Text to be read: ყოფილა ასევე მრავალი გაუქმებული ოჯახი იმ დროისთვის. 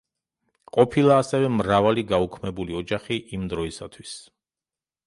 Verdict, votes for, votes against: rejected, 0, 2